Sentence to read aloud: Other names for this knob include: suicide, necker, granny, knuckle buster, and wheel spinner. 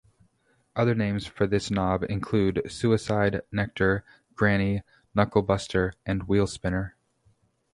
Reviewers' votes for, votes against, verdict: 0, 2, rejected